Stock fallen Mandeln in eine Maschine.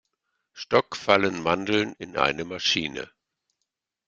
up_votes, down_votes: 2, 1